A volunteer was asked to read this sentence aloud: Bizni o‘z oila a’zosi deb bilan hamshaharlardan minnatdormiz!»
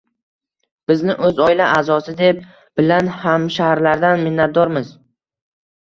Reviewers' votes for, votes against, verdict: 2, 1, accepted